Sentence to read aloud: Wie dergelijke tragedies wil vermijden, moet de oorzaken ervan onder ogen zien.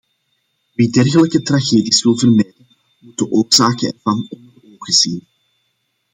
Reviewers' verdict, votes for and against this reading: rejected, 1, 2